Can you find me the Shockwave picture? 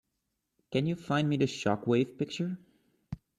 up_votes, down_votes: 2, 0